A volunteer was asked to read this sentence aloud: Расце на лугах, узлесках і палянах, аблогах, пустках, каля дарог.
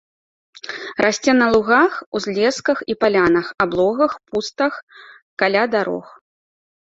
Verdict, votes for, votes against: rejected, 1, 2